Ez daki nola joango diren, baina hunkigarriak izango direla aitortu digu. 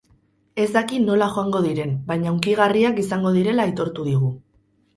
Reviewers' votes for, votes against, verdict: 6, 0, accepted